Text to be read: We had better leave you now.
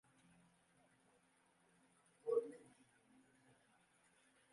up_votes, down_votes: 0, 2